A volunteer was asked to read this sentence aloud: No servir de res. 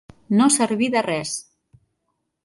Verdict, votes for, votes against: accepted, 2, 0